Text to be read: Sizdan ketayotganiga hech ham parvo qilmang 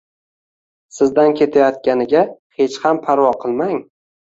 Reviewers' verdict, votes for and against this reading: accepted, 2, 0